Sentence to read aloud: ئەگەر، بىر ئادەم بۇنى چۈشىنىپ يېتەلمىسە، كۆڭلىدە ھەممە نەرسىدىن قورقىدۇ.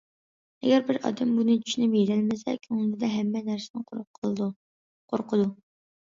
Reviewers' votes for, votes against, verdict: 1, 2, rejected